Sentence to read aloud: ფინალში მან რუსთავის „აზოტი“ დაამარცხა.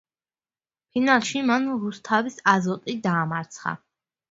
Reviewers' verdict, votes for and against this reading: accepted, 2, 0